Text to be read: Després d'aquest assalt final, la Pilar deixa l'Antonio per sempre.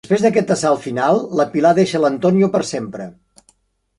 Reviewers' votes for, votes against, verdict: 0, 2, rejected